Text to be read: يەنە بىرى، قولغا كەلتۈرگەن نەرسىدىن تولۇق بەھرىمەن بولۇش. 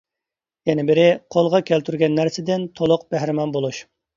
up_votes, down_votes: 2, 0